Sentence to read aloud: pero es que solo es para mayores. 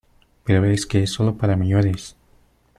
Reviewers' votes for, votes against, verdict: 0, 2, rejected